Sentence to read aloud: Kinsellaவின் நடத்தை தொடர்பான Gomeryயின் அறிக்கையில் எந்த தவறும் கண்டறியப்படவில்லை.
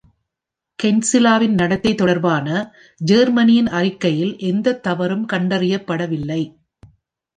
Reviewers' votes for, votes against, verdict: 0, 2, rejected